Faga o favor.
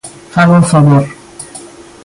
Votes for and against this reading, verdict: 2, 0, accepted